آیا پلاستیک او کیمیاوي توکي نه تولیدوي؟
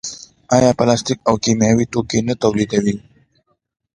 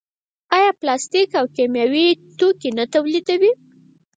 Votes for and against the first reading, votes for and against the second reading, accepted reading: 2, 1, 2, 4, first